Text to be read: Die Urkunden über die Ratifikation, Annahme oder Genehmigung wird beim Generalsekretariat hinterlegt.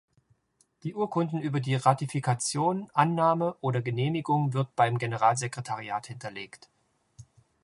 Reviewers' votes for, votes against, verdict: 3, 0, accepted